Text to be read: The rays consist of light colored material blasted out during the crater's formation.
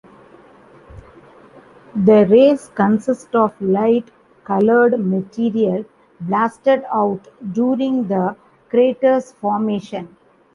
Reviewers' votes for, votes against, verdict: 1, 2, rejected